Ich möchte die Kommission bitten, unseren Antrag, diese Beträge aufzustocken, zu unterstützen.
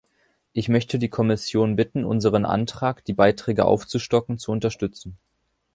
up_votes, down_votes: 1, 2